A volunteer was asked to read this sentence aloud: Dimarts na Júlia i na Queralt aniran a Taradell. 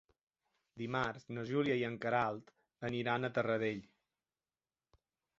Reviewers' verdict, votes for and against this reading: rejected, 0, 2